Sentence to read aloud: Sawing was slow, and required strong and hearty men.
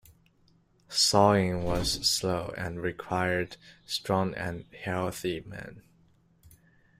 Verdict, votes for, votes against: rejected, 0, 2